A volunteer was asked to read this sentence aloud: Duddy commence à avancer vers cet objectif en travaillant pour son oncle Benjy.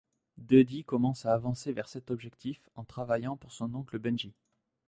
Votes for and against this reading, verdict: 1, 2, rejected